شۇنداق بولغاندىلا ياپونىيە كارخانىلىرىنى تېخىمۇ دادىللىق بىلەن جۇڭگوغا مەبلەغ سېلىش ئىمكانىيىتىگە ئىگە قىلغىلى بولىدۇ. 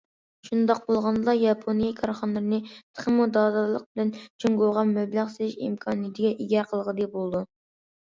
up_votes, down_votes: 2, 0